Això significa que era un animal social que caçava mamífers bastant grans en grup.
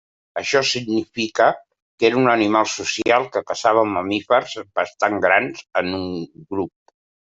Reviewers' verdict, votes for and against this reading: rejected, 1, 2